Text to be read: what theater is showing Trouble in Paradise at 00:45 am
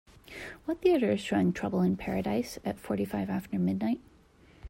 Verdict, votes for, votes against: rejected, 0, 2